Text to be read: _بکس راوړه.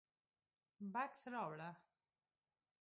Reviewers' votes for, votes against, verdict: 2, 0, accepted